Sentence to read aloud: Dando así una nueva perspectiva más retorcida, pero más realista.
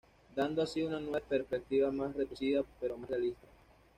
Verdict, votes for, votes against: rejected, 1, 2